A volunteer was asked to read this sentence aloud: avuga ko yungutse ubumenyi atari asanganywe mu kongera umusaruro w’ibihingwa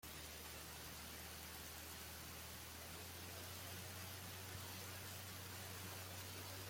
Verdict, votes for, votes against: rejected, 0, 3